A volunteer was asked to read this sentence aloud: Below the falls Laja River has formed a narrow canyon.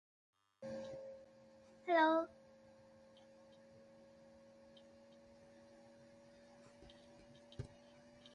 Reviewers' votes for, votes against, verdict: 0, 2, rejected